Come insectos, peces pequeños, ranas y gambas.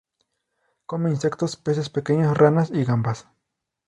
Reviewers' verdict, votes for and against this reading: accepted, 2, 0